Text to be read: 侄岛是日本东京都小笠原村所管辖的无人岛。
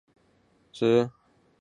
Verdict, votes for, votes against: rejected, 0, 2